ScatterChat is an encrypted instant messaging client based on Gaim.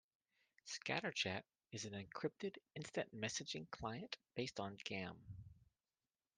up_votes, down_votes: 2, 0